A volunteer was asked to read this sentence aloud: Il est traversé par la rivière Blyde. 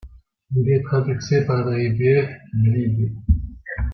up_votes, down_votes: 1, 2